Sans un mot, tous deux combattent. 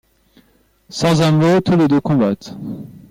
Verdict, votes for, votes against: rejected, 0, 2